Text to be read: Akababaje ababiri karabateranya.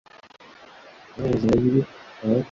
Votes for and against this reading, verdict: 1, 2, rejected